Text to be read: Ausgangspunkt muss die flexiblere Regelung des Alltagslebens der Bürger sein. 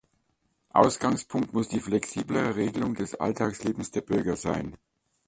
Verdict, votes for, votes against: accepted, 2, 1